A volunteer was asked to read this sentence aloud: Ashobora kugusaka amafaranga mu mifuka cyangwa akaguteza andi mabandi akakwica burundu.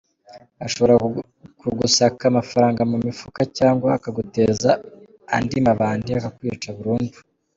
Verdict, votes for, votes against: accepted, 2, 0